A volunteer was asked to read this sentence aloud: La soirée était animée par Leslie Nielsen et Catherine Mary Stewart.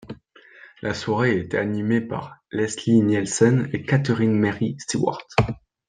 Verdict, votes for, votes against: accepted, 2, 0